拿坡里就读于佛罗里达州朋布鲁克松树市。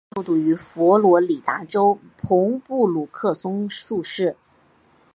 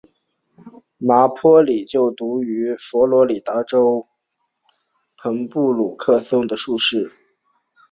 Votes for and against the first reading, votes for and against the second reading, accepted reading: 1, 3, 5, 0, second